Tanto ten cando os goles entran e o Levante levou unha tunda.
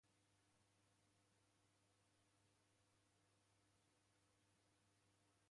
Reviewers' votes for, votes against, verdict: 0, 3, rejected